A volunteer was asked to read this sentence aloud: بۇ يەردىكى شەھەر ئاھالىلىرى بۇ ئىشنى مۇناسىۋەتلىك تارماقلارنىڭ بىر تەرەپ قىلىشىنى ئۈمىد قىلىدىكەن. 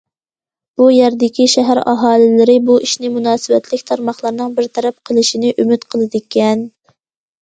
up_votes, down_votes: 2, 0